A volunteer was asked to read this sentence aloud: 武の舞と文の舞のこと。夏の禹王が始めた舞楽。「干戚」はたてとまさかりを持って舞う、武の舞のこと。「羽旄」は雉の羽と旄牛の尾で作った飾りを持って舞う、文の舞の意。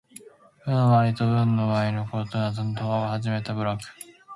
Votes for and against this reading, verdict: 0, 2, rejected